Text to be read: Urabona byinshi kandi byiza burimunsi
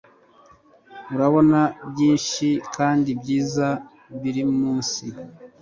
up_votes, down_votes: 1, 2